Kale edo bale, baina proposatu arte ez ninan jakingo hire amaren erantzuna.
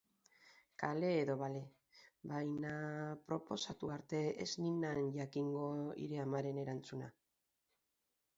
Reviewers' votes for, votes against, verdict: 2, 0, accepted